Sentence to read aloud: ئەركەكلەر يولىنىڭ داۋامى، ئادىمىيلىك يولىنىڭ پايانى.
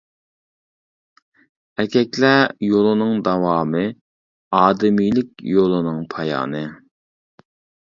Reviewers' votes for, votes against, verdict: 2, 1, accepted